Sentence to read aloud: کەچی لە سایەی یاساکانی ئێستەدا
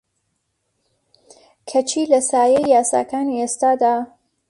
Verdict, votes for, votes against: accepted, 2, 0